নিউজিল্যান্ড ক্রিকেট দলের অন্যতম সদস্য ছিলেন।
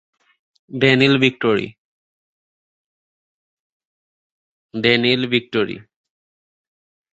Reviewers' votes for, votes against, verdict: 0, 2, rejected